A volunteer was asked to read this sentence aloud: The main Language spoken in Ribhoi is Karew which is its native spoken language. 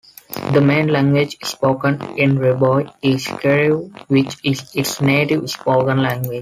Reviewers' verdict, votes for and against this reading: rejected, 1, 2